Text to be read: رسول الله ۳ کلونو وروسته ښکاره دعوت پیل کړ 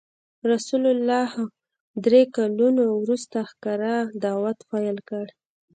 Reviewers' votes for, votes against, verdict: 0, 2, rejected